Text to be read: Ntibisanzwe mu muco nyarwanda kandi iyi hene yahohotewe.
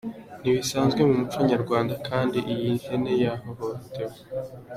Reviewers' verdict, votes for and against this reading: accepted, 2, 0